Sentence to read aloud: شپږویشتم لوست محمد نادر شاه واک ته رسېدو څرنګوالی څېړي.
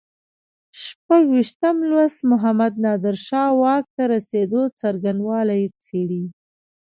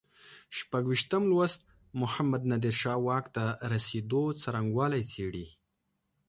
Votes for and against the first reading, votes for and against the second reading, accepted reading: 0, 2, 2, 0, second